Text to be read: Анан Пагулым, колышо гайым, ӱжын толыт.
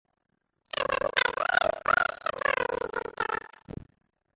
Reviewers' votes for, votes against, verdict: 0, 2, rejected